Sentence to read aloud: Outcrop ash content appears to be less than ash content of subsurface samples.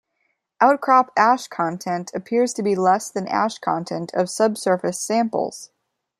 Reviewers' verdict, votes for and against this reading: accepted, 2, 0